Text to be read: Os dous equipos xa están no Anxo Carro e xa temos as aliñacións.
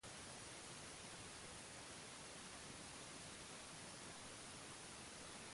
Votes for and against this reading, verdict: 0, 2, rejected